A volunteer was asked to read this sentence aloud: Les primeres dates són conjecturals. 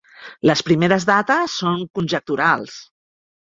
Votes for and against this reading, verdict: 1, 2, rejected